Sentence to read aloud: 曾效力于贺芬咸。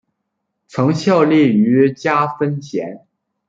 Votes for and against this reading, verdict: 1, 2, rejected